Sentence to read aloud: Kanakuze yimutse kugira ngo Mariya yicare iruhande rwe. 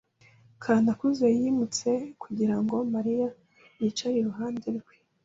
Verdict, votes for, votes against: accepted, 2, 0